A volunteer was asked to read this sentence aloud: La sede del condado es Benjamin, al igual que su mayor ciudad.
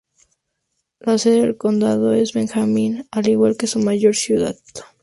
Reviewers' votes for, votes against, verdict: 2, 0, accepted